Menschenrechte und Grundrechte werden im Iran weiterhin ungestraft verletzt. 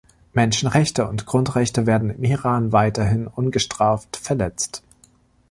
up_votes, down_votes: 1, 2